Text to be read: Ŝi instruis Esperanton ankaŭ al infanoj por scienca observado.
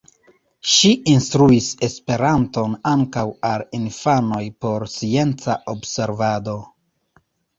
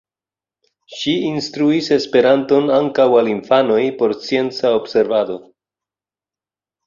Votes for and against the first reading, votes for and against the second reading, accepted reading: 1, 2, 2, 0, second